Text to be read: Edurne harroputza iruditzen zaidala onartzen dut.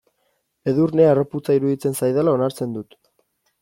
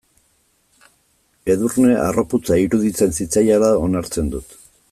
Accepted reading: first